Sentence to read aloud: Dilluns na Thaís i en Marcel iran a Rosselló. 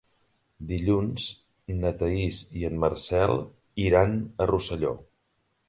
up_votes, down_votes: 4, 0